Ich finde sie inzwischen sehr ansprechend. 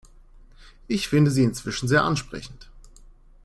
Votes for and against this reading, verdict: 2, 0, accepted